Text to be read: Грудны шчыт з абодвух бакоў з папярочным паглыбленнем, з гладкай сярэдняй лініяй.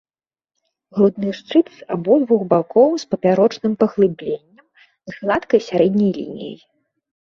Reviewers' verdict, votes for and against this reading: accepted, 2, 0